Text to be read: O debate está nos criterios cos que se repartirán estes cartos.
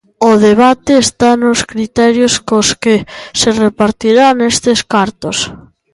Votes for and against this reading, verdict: 2, 0, accepted